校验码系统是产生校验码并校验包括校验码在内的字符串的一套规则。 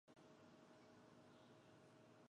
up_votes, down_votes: 0, 2